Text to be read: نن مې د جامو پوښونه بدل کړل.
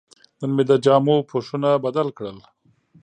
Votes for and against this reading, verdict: 2, 1, accepted